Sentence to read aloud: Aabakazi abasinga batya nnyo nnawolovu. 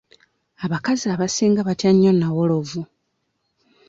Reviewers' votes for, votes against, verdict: 2, 0, accepted